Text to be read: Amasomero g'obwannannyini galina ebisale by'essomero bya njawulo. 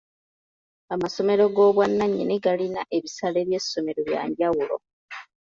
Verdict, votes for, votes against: accepted, 2, 0